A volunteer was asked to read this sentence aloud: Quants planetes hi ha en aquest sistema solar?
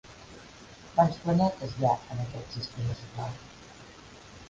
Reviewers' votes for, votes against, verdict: 1, 3, rejected